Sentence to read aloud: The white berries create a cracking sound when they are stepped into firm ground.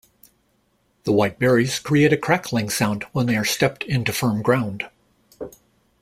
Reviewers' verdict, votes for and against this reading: rejected, 1, 2